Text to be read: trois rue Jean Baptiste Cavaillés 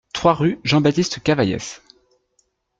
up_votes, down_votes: 2, 0